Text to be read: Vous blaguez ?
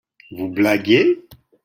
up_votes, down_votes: 2, 1